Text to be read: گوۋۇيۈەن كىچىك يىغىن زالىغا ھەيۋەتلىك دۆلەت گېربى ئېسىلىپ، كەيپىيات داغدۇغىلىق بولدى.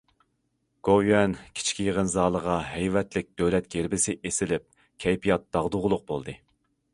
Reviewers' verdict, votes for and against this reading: rejected, 0, 2